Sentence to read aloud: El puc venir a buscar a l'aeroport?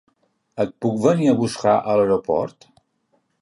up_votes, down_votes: 1, 2